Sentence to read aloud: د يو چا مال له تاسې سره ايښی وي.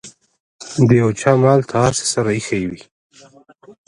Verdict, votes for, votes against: rejected, 1, 2